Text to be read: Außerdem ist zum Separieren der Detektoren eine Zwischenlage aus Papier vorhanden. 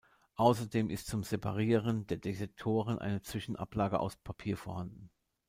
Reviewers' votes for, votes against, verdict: 0, 2, rejected